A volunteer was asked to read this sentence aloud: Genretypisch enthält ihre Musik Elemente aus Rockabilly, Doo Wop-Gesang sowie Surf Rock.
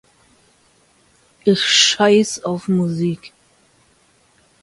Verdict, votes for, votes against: rejected, 0, 2